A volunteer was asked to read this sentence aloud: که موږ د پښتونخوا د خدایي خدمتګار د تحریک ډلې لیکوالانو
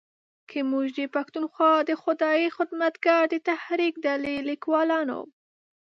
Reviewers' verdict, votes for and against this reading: accepted, 2, 0